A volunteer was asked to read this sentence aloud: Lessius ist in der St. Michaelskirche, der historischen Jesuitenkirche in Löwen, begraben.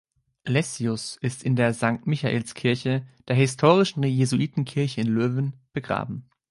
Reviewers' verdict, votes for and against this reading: accepted, 2, 1